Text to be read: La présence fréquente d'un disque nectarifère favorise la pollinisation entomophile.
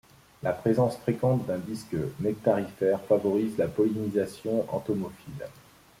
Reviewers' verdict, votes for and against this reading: accepted, 2, 0